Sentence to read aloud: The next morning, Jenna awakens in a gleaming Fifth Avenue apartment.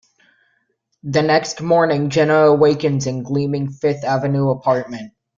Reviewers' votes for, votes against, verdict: 1, 2, rejected